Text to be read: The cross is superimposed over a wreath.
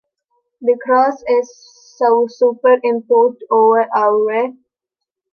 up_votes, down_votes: 0, 2